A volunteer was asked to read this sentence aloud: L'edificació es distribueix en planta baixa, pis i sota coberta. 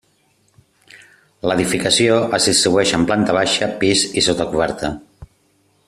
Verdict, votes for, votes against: accepted, 2, 0